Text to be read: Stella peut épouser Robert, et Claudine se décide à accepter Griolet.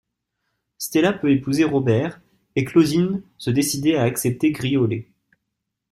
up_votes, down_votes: 0, 2